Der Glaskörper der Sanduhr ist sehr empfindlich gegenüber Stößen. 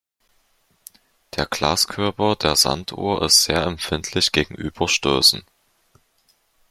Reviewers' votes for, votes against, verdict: 2, 0, accepted